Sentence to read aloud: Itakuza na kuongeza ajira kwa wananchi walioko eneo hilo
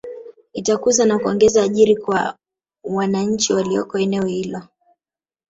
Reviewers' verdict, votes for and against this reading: rejected, 0, 2